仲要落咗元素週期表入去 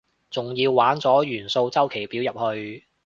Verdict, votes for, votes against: rejected, 0, 2